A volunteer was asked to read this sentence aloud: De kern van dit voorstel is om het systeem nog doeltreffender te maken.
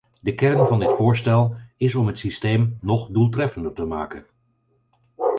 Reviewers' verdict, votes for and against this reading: rejected, 2, 4